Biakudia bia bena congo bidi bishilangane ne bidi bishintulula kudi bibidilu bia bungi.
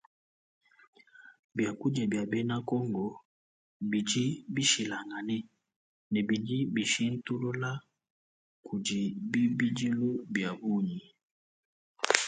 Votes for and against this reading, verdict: 2, 0, accepted